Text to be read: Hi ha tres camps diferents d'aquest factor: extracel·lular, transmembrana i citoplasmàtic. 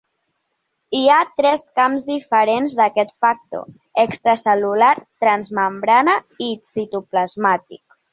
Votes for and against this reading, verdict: 2, 0, accepted